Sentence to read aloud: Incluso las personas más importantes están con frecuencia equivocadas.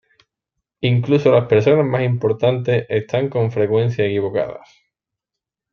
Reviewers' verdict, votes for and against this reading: rejected, 1, 2